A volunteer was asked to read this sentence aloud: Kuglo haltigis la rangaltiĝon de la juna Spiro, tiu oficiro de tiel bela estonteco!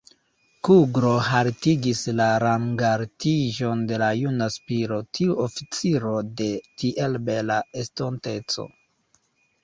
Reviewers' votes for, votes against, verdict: 2, 0, accepted